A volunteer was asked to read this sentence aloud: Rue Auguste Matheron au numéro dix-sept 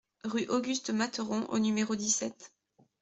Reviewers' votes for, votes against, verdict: 2, 0, accepted